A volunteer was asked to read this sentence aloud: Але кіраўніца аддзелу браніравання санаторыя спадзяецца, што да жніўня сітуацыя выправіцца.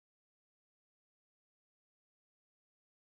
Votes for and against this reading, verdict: 0, 2, rejected